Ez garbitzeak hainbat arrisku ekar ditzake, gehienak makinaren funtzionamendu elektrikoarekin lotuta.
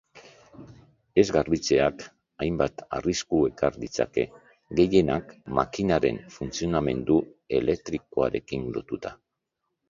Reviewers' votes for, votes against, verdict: 2, 0, accepted